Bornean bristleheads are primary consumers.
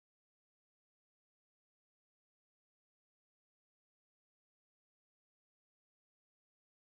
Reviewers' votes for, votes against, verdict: 0, 2, rejected